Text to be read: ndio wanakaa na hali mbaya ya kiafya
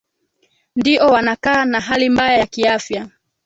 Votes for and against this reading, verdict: 2, 0, accepted